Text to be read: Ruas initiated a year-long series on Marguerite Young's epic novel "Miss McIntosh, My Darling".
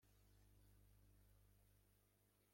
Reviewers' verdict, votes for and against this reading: rejected, 0, 2